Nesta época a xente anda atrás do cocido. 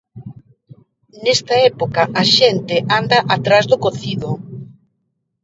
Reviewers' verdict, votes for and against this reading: accepted, 2, 1